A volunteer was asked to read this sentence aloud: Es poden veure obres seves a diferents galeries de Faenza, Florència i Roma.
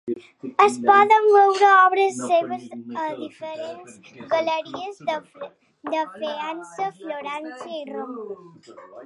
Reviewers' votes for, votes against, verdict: 0, 2, rejected